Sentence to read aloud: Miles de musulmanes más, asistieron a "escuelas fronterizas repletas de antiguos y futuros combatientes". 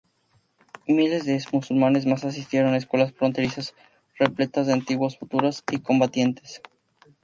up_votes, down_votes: 2, 2